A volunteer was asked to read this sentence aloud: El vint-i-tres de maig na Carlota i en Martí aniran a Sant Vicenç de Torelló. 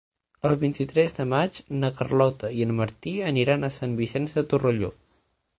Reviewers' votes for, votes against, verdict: 3, 6, rejected